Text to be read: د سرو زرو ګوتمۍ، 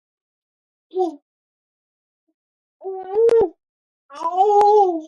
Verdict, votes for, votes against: rejected, 0, 2